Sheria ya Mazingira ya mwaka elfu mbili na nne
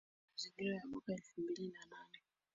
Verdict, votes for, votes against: rejected, 0, 2